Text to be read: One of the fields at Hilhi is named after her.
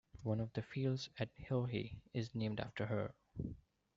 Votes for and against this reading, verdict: 2, 1, accepted